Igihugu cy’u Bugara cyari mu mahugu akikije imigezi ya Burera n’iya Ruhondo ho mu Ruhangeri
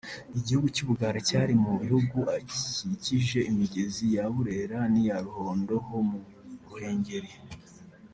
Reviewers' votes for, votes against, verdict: 0, 2, rejected